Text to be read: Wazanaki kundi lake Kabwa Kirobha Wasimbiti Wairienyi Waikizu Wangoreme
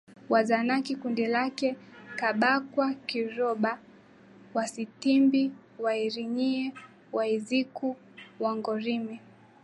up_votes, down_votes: 0, 2